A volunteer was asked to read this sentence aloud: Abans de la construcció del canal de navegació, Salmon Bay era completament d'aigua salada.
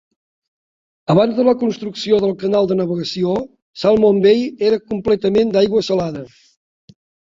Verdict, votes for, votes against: accepted, 3, 0